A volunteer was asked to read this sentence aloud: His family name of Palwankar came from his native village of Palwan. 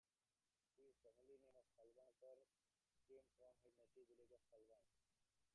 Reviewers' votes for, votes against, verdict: 0, 2, rejected